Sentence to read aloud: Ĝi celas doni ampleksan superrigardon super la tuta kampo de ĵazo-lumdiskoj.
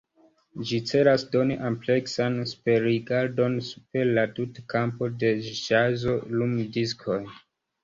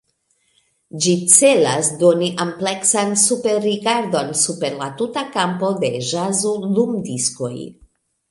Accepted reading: second